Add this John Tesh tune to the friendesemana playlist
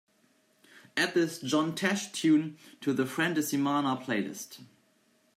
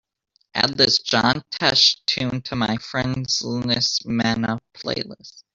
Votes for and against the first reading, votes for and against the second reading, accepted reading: 2, 0, 1, 2, first